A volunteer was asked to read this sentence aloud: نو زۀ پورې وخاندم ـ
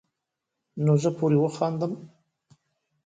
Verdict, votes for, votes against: rejected, 1, 2